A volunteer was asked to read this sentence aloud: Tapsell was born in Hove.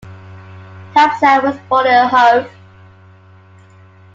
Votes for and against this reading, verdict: 1, 2, rejected